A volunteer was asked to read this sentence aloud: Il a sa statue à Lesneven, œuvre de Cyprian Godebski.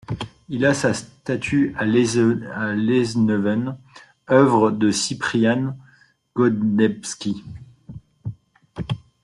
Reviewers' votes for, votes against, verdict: 1, 2, rejected